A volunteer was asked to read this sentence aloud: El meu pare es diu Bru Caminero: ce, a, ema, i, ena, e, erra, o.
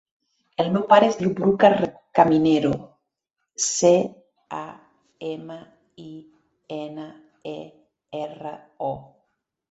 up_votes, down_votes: 0, 2